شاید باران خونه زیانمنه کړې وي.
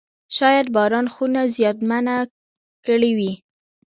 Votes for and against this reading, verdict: 2, 0, accepted